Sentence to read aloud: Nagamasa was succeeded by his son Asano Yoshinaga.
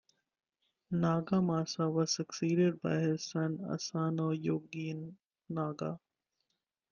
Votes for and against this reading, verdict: 1, 2, rejected